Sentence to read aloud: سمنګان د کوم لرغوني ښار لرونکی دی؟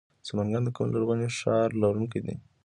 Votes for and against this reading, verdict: 2, 0, accepted